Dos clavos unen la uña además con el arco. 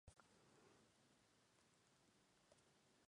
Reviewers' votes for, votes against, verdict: 0, 4, rejected